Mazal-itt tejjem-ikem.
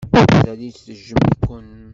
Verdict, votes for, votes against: rejected, 0, 2